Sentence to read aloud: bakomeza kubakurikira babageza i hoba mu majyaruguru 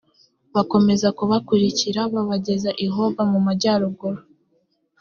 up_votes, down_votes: 2, 0